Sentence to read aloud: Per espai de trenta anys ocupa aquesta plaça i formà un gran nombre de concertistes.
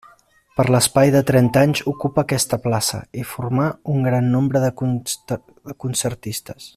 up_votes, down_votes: 0, 3